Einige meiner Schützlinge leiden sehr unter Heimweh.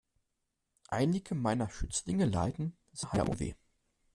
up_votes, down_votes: 0, 2